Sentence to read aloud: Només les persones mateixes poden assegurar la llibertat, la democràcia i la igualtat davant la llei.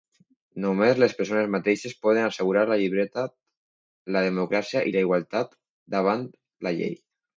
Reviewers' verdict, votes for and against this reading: rejected, 0, 2